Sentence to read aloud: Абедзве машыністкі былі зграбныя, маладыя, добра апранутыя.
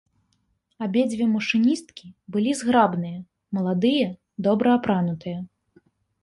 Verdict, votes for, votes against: accepted, 2, 0